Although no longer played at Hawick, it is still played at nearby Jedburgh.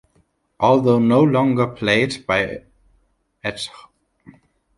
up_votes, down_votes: 0, 2